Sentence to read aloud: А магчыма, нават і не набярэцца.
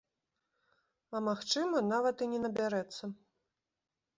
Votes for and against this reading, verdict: 2, 0, accepted